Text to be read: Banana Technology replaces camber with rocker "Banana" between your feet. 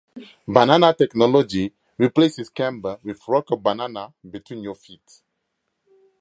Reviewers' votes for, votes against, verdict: 2, 0, accepted